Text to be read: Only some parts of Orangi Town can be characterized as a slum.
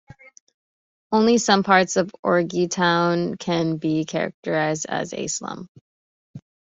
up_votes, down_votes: 0, 2